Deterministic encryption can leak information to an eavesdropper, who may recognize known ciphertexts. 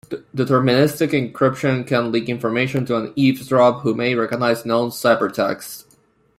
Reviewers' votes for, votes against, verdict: 2, 3, rejected